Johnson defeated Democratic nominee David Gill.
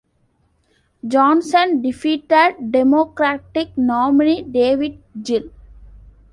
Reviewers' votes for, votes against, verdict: 2, 1, accepted